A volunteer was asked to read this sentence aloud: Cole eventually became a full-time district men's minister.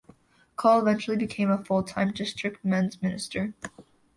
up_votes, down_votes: 2, 1